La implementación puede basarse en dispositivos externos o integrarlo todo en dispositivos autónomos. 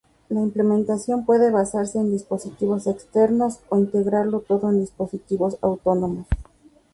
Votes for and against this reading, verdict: 0, 2, rejected